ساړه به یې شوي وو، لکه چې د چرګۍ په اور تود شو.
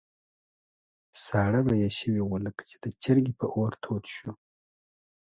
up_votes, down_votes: 2, 0